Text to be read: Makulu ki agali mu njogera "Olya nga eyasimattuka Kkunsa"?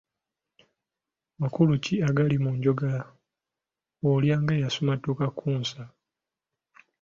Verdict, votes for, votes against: accepted, 2, 1